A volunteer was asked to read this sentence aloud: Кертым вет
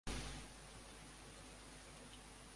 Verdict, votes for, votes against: rejected, 0, 2